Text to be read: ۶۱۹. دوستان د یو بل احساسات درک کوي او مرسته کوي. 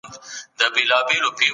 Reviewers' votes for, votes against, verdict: 0, 2, rejected